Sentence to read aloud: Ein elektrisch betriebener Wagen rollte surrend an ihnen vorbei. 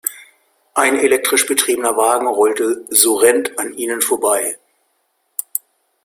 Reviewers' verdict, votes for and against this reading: rejected, 0, 2